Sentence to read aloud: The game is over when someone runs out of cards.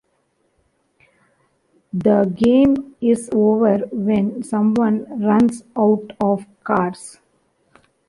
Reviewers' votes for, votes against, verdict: 2, 0, accepted